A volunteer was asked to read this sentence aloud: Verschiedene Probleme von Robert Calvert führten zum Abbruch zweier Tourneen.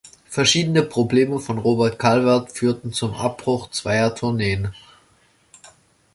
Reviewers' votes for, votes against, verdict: 3, 0, accepted